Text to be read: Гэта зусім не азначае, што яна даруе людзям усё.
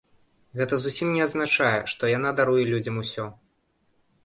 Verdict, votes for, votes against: accepted, 2, 0